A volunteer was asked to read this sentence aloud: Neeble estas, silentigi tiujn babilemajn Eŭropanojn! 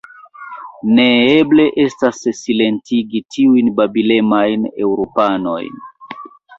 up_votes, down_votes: 0, 2